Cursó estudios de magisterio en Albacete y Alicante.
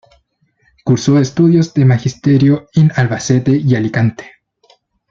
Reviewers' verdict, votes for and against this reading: rejected, 1, 2